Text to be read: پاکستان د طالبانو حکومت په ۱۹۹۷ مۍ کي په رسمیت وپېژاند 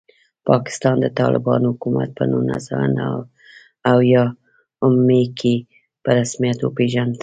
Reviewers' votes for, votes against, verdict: 0, 2, rejected